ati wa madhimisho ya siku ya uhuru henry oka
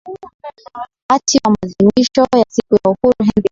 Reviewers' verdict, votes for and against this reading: rejected, 1, 2